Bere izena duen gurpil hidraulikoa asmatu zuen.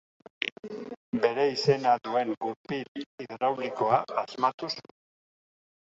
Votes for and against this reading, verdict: 1, 2, rejected